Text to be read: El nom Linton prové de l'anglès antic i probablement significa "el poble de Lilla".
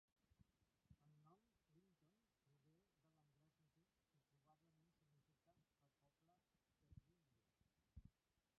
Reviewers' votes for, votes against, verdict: 0, 2, rejected